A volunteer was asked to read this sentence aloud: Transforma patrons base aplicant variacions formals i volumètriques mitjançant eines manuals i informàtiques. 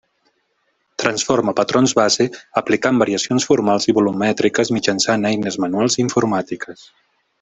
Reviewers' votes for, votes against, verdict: 2, 0, accepted